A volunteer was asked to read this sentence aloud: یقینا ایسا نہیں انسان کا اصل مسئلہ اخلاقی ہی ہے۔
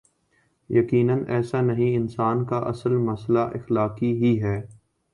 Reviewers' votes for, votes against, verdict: 2, 0, accepted